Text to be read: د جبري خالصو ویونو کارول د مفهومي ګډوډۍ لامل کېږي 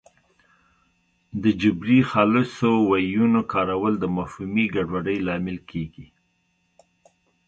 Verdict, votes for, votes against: accepted, 2, 0